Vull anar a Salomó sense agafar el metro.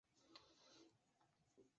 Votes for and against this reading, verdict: 0, 3, rejected